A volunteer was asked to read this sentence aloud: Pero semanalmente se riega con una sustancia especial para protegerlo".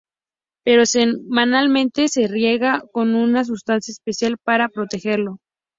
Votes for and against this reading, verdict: 0, 2, rejected